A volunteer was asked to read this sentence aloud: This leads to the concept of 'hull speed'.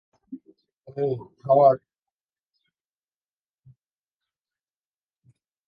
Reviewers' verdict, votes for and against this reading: rejected, 0, 2